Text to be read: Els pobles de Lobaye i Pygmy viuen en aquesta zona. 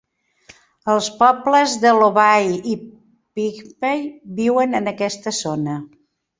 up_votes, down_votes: 2, 3